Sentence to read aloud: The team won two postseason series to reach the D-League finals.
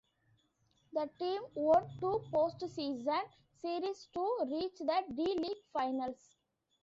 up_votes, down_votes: 2, 1